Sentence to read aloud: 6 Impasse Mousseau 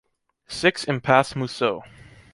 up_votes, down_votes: 0, 2